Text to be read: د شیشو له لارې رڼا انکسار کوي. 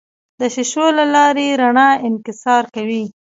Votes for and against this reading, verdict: 2, 0, accepted